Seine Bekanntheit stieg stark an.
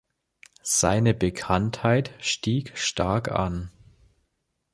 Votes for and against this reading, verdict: 2, 0, accepted